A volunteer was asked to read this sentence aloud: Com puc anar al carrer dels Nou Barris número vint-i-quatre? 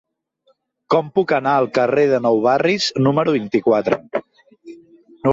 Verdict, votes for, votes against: rejected, 1, 2